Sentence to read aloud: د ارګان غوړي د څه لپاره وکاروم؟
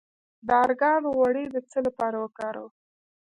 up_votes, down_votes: 1, 2